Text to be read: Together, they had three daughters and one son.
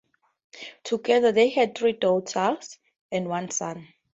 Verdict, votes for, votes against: accepted, 10, 6